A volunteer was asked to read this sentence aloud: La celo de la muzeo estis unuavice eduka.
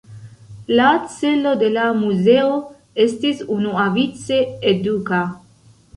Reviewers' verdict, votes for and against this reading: accepted, 2, 1